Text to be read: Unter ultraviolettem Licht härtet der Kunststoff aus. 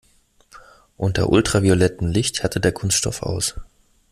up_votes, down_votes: 2, 0